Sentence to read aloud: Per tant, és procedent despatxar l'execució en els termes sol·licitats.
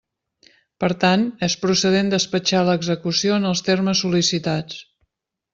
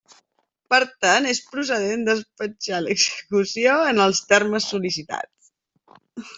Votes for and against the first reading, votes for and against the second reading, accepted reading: 2, 0, 1, 2, first